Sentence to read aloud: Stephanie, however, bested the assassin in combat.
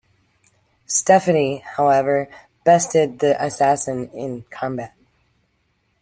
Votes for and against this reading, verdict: 2, 0, accepted